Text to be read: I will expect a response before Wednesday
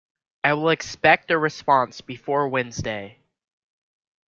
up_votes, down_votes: 2, 0